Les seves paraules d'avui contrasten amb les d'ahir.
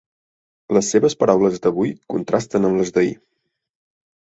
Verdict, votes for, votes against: accepted, 12, 0